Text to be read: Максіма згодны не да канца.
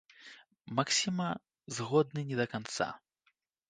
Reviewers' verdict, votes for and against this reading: accepted, 2, 0